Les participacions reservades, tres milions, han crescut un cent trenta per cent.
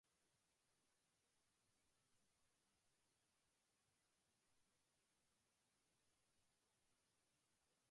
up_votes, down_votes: 0, 2